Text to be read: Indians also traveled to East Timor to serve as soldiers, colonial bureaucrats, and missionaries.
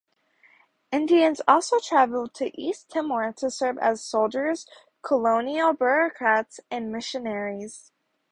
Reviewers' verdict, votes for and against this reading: rejected, 0, 2